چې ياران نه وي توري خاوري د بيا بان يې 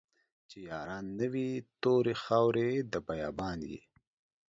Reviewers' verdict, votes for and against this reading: accepted, 2, 0